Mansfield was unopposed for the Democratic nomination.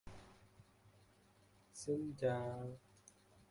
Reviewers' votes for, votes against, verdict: 1, 2, rejected